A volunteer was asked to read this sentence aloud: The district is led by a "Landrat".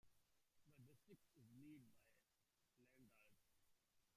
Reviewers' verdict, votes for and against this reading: rejected, 0, 2